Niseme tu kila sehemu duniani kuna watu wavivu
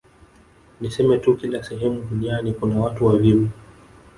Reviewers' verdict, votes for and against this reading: rejected, 1, 2